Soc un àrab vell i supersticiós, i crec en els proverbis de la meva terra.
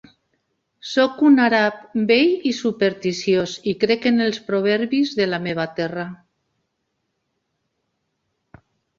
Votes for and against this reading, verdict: 0, 2, rejected